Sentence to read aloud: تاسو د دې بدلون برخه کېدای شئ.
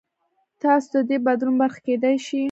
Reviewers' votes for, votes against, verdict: 2, 0, accepted